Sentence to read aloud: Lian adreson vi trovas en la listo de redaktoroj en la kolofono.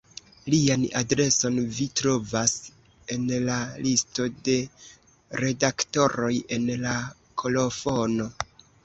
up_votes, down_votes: 2, 0